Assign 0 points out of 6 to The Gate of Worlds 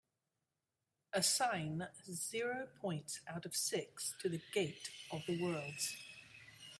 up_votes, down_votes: 0, 2